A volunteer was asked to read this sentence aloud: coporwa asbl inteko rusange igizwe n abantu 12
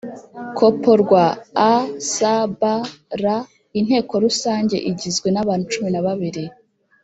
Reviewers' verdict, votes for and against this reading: rejected, 0, 2